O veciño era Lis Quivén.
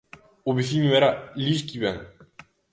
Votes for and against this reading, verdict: 2, 0, accepted